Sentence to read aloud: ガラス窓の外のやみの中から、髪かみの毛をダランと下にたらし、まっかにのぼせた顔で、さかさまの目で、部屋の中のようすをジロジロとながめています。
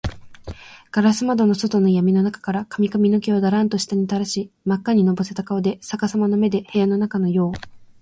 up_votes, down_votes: 0, 2